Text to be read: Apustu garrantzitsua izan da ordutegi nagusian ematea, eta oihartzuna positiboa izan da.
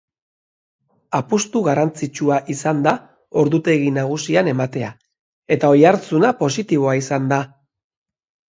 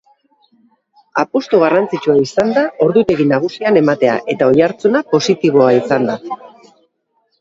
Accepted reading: first